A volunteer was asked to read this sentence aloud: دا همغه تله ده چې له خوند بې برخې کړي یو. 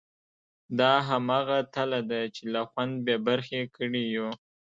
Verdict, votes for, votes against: rejected, 0, 2